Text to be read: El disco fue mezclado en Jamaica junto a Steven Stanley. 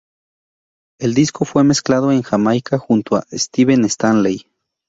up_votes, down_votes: 2, 0